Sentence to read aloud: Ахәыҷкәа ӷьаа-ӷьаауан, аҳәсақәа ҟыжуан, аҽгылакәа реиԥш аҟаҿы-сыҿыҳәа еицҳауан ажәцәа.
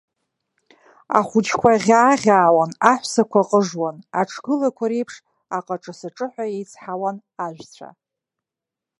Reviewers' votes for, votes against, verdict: 2, 0, accepted